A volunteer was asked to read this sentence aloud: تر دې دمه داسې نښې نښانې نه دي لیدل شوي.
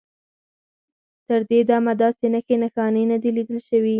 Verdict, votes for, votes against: rejected, 2, 4